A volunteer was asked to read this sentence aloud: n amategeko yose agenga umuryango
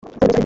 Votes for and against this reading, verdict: 0, 2, rejected